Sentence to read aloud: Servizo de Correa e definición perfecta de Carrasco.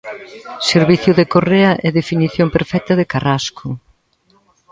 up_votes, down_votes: 1, 2